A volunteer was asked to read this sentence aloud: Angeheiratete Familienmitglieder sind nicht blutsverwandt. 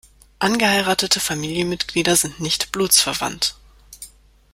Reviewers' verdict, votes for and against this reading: accepted, 2, 0